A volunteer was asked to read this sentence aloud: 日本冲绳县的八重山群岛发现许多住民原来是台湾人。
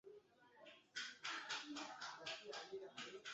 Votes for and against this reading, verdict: 0, 2, rejected